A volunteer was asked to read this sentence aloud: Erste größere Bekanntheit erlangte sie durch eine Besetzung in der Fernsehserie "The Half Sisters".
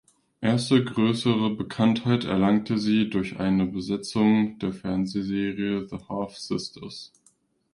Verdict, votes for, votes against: rejected, 0, 2